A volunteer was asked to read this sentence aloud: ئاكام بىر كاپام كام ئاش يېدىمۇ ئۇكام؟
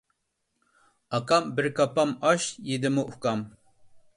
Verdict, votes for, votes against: rejected, 1, 2